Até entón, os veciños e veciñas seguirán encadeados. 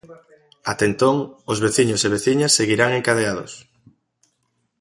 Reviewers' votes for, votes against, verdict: 2, 0, accepted